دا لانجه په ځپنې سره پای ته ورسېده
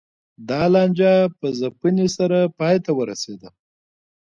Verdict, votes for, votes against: accepted, 2, 1